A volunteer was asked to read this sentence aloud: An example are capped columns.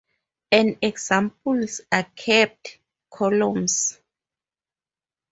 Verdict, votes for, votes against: rejected, 0, 4